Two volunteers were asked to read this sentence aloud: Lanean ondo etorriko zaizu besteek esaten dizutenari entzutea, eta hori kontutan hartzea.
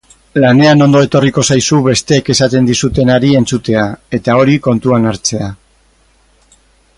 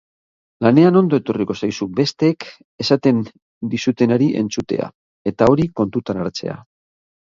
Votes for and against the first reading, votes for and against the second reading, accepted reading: 2, 4, 6, 0, second